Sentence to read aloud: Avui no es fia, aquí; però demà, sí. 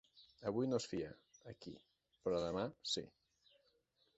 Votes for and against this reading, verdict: 2, 0, accepted